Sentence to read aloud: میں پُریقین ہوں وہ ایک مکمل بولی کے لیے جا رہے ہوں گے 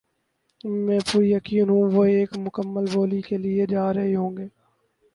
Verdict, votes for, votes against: accepted, 4, 0